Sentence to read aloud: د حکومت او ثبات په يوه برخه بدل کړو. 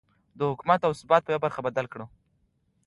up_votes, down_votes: 2, 0